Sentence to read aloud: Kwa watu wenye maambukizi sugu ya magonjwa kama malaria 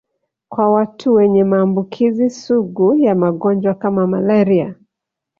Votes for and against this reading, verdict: 1, 2, rejected